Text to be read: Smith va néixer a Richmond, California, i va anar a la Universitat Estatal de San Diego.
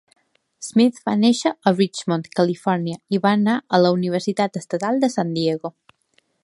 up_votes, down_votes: 2, 0